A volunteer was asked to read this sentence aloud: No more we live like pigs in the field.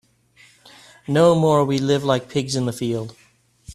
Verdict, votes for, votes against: accepted, 3, 0